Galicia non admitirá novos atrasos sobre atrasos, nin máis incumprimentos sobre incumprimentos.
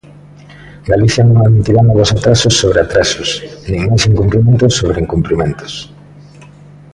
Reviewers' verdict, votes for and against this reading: rejected, 0, 2